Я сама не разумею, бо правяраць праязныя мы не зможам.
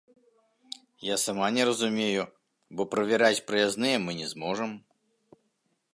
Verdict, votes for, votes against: accepted, 2, 0